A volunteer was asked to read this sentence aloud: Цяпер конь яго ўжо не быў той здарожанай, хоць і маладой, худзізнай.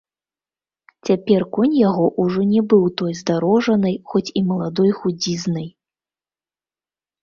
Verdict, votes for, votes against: accepted, 2, 0